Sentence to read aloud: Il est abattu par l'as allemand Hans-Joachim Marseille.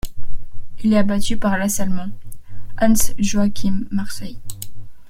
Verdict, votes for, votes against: accepted, 2, 0